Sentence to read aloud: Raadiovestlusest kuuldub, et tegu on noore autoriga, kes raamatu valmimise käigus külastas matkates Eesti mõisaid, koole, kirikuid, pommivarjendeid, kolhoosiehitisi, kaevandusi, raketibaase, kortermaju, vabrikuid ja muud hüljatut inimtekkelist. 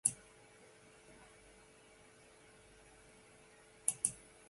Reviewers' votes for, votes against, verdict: 0, 2, rejected